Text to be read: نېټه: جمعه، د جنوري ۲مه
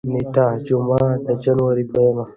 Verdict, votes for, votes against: rejected, 0, 2